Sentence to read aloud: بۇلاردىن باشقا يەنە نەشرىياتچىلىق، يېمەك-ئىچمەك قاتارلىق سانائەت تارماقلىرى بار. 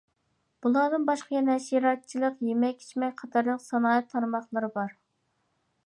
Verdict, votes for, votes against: rejected, 0, 2